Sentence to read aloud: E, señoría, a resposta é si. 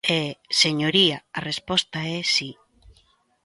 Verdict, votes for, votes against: accepted, 2, 0